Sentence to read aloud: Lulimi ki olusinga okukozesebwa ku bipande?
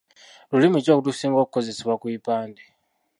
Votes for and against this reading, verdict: 1, 2, rejected